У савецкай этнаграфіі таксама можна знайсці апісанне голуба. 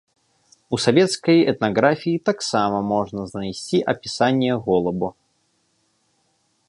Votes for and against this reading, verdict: 1, 2, rejected